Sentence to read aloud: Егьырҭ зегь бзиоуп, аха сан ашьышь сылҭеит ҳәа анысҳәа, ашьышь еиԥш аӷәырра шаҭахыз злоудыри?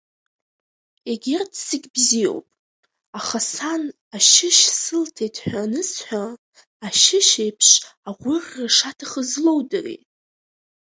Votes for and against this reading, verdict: 0, 2, rejected